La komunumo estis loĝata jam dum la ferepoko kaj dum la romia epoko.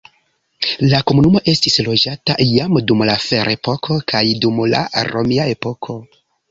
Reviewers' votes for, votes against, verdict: 2, 0, accepted